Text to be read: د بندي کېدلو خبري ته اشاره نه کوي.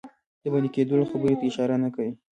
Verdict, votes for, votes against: accepted, 2, 0